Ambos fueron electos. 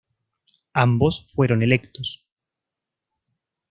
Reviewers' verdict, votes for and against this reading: accepted, 2, 0